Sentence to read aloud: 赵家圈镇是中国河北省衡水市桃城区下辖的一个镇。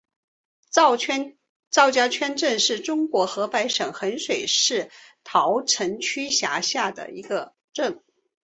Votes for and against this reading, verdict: 3, 2, accepted